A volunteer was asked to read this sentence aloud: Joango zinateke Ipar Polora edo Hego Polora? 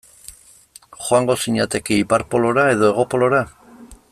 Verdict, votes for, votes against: accepted, 2, 0